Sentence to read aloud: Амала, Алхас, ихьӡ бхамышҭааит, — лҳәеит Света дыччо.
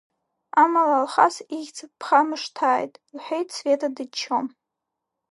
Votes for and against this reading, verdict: 4, 0, accepted